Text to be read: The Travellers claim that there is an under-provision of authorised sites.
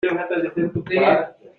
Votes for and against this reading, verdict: 0, 2, rejected